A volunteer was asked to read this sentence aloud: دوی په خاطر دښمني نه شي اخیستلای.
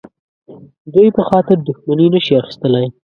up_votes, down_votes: 2, 0